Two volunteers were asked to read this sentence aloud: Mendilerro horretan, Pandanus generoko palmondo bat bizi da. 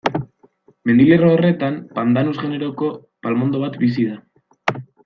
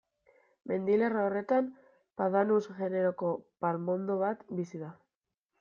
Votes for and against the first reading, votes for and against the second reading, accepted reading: 2, 0, 1, 2, first